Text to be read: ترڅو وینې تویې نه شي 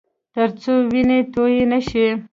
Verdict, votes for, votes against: rejected, 1, 2